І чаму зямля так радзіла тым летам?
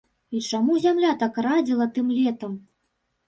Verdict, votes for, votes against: rejected, 0, 3